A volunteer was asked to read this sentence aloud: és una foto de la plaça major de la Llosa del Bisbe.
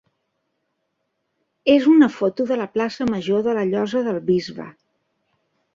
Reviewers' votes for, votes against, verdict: 3, 0, accepted